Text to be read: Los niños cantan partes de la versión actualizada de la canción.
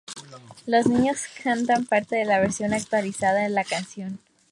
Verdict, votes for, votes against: accepted, 4, 0